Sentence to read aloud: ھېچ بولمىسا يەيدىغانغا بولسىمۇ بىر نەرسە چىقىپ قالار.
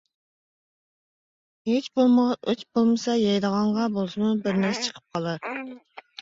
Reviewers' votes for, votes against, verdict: 0, 2, rejected